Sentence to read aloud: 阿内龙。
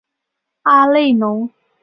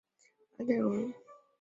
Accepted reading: first